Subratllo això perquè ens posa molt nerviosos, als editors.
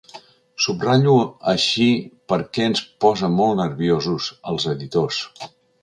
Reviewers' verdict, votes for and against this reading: rejected, 1, 3